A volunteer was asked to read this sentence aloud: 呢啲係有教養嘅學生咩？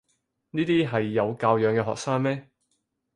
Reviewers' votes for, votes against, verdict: 4, 0, accepted